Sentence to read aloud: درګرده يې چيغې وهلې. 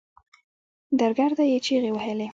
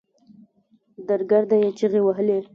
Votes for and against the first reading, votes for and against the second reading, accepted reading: 1, 2, 2, 1, second